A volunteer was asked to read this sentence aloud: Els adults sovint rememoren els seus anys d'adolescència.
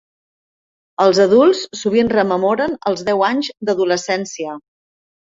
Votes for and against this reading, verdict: 0, 2, rejected